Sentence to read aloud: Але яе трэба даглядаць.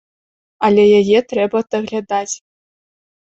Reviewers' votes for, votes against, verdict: 2, 0, accepted